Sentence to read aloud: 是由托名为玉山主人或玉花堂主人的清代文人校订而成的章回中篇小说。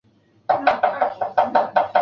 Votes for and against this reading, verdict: 0, 2, rejected